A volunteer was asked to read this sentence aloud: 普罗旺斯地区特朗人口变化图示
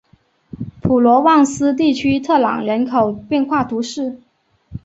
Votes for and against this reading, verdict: 2, 0, accepted